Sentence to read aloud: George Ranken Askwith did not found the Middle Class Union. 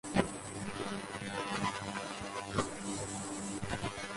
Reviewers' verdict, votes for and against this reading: rejected, 0, 4